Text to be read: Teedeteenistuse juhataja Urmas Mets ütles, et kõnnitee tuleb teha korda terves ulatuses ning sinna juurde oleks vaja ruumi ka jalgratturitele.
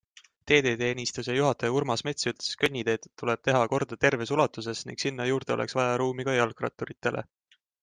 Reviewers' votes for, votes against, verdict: 2, 0, accepted